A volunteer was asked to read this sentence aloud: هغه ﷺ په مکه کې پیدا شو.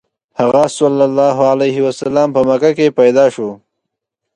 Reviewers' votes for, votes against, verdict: 2, 0, accepted